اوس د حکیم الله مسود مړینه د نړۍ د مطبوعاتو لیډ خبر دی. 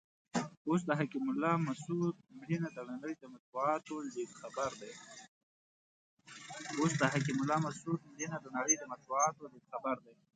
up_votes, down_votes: 1, 2